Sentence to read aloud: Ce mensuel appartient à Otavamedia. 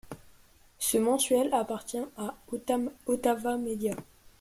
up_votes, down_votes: 1, 2